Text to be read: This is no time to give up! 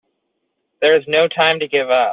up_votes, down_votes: 0, 2